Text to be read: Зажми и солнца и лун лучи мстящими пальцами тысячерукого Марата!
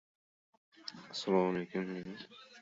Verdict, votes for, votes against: rejected, 0, 2